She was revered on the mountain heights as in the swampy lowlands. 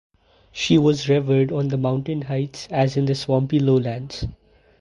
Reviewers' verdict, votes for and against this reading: accepted, 4, 0